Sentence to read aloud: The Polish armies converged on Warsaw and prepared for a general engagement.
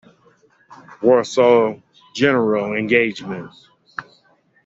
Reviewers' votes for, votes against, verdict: 1, 3, rejected